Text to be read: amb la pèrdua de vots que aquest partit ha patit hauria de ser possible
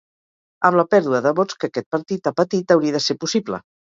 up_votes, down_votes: 4, 0